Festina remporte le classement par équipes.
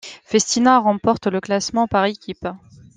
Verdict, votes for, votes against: accepted, 2, 0